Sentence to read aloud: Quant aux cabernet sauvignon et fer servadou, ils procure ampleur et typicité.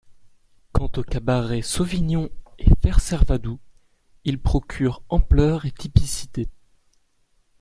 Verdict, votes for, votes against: rejected, 0, 3